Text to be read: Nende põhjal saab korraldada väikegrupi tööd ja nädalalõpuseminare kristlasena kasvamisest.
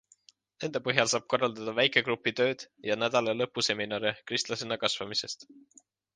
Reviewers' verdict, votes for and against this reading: accepted, 2, 0